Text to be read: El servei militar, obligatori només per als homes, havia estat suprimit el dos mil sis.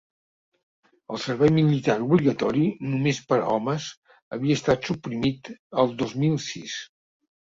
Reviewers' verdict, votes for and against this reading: rejected, 2, 3